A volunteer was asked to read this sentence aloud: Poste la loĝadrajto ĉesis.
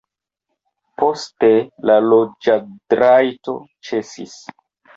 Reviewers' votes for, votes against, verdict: 1, 2, rejected